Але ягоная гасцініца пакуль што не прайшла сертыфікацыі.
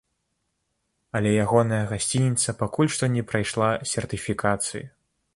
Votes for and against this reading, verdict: 2, 0, accepted